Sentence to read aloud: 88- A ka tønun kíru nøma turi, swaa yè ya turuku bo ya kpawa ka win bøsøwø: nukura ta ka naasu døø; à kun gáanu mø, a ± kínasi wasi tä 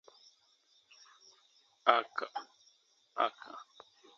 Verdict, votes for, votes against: rejected, 0, 2